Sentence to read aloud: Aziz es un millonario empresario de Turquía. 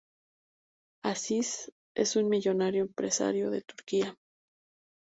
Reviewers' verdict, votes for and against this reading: accepted, 2, 0